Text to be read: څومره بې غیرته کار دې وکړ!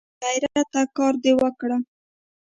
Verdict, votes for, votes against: rejected, 0, 2